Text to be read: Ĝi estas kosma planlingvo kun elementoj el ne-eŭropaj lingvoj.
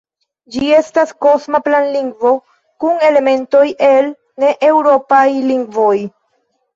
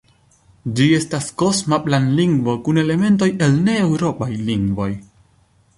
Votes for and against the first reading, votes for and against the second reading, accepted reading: 1, 2, 2, 0, second